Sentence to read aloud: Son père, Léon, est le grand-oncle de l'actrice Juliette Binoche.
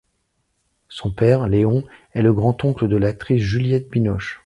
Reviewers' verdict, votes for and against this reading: accepted, 2, 0